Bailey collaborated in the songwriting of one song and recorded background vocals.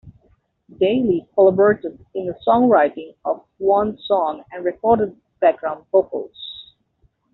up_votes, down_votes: 2, 0